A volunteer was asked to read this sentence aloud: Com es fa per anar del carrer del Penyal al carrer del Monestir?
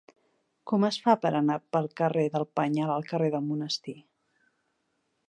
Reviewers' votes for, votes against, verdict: 0, 2, rejected